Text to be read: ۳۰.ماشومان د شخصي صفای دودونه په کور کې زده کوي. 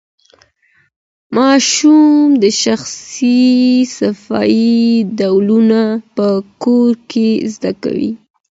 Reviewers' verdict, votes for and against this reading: rejected, 0, 2